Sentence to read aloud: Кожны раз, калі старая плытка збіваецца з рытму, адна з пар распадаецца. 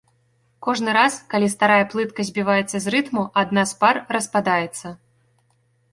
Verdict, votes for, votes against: accepted, 3, 0